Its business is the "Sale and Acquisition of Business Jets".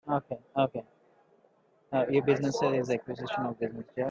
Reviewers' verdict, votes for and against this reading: rejected, 0, 2